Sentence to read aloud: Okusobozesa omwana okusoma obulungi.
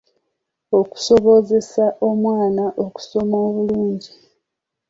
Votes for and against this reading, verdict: 2, 0, accepted